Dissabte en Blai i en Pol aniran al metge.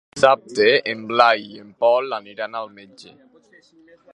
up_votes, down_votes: 0, 2